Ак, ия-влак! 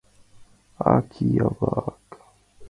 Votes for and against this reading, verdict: 2, 0, accepted